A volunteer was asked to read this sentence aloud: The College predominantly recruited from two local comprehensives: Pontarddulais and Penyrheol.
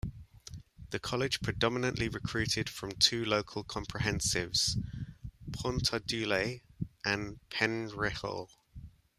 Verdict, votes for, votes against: accepted, 2, 0